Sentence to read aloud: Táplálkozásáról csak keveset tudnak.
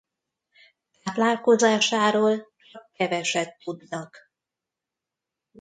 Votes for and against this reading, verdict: 0, 2, rejected